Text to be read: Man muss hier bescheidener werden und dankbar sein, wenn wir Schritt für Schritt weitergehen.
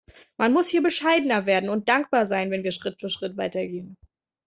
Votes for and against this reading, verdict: 2, 0, accepted